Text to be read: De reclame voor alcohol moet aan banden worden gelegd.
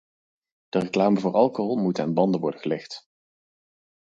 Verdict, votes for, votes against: accepted, 4, 0